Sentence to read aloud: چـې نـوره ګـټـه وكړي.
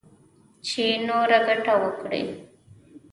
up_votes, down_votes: 1, 2